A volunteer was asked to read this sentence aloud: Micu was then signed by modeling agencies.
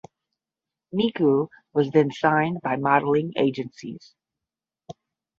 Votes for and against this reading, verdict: 5, 5, rejected